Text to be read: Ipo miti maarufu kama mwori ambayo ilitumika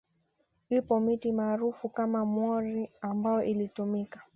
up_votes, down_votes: 2, 1